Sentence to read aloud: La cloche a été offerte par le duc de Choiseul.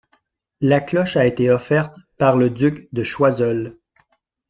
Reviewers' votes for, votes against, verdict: 2, 0, accepted